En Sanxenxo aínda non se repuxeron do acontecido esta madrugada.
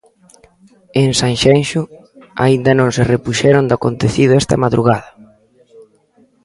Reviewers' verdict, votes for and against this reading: rejected, 1, 2